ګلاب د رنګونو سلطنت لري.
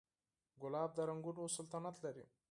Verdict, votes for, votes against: accepted, 4, 0